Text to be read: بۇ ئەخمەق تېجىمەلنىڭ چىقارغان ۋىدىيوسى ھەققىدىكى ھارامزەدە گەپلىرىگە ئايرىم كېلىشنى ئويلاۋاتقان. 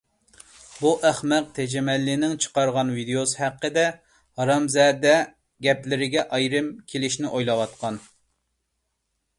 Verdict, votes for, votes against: rejected, 1, 2